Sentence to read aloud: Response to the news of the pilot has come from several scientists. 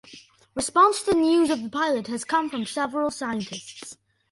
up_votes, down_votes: 1, 2